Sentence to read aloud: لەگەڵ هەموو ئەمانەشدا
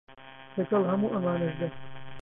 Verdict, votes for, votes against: rejected, 0, 2